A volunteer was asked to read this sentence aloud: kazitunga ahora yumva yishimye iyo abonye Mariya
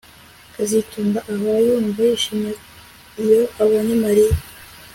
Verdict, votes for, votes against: accepted, 2, 0